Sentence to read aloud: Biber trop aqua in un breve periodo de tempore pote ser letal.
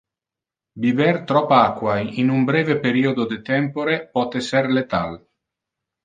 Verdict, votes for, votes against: accepted, 2, 0